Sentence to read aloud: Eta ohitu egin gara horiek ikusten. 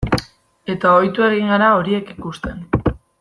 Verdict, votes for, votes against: accepted, 2, 0